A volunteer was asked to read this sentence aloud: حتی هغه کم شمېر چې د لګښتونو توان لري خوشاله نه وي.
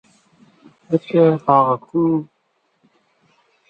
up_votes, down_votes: 0, 2